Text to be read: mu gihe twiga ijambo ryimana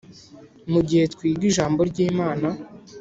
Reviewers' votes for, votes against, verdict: 3, 0, accepted